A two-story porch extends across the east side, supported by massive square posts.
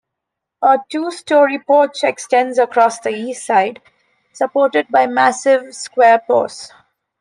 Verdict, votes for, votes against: accepted, 2, 0